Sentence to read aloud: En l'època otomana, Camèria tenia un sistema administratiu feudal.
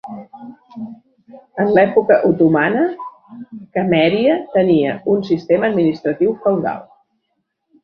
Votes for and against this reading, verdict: 1, 2, rejected